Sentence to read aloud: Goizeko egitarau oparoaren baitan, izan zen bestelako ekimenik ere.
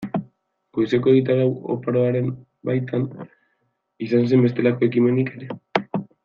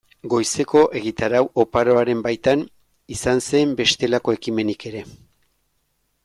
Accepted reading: second